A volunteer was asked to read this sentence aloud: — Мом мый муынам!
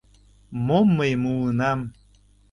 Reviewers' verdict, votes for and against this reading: accepted, 2, 0